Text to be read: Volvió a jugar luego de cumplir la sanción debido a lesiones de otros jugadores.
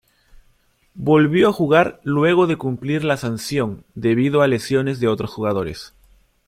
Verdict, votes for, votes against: accepted, 2, 0